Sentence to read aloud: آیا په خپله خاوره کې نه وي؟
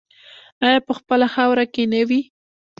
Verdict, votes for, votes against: accepted, 2, 0